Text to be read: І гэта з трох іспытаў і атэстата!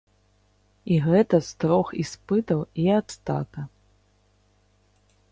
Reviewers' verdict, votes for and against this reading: rejected, 0, 2